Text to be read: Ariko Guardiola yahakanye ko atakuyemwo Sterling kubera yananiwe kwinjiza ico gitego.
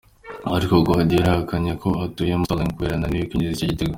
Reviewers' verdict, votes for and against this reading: rejected, 0, 2